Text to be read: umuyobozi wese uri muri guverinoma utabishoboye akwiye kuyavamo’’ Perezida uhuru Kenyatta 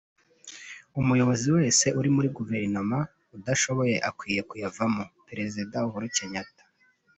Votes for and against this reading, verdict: 0, 2, rejected